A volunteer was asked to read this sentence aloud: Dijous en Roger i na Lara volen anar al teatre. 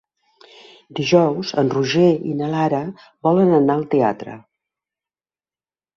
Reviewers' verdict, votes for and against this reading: accepted, 3, 0